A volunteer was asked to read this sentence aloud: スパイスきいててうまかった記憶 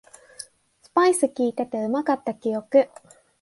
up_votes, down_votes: 2, 0